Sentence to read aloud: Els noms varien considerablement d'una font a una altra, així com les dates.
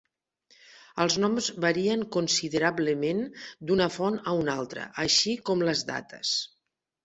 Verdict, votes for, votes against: accepted, 2, 0